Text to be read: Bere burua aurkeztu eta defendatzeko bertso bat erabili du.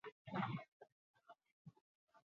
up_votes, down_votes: 2, 0